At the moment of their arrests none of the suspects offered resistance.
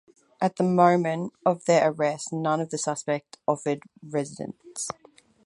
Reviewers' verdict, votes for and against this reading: rejected, 2, 4